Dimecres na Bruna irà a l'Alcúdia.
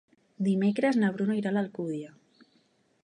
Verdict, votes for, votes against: accepted, 3, 0